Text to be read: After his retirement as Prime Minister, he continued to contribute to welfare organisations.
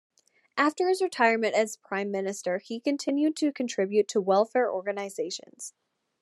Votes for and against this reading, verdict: 2, 0, accepted